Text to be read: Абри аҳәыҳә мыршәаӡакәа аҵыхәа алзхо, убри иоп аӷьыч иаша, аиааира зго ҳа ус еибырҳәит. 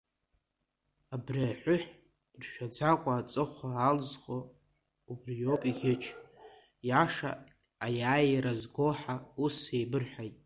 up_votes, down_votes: 1, 2